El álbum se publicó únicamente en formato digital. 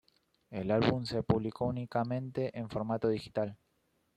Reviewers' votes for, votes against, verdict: 2, 0, accepted